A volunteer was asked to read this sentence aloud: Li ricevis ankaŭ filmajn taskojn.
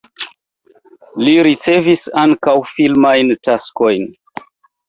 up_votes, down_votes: 2, 1